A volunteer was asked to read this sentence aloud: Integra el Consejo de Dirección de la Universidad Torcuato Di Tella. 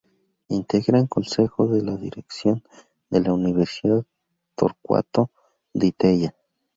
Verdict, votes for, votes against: rejected, 0, 2